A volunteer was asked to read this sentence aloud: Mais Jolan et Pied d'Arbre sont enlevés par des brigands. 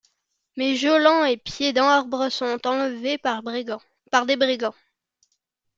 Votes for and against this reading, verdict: 0, 2, rejected